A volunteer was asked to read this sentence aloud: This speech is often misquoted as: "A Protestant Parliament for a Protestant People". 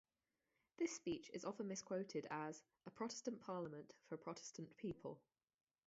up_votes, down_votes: 2, 2